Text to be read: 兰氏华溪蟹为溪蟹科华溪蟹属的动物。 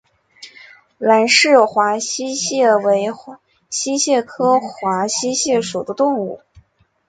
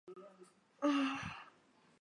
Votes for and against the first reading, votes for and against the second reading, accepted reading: 2, 1, 0, 2, first